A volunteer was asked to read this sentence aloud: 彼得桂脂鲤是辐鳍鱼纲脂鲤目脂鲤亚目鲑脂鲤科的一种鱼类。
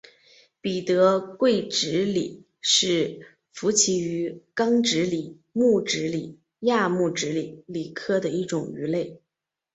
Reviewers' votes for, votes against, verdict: 2, 1, accepted